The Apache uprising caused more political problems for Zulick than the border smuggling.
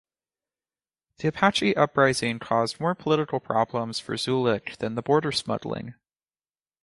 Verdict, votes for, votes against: accepted, 4, 0